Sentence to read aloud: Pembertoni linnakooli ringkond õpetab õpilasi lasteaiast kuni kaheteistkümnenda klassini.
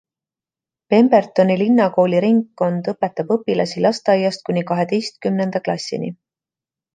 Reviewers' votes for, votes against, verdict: 2, 0, accepted